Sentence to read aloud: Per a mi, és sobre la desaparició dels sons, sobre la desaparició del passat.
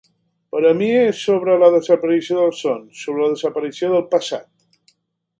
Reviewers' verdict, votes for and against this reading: accepted, 3, 0